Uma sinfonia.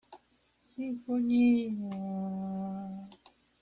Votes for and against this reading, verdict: 1, 2, rejected